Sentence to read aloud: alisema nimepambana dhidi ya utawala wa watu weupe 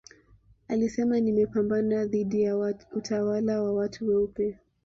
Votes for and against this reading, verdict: 2, 1, accepted